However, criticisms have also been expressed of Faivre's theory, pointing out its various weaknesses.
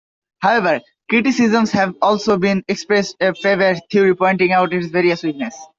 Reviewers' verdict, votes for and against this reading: accepted, 2, 0